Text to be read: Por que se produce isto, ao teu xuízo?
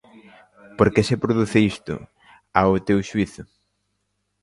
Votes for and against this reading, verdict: 3, 0, accepted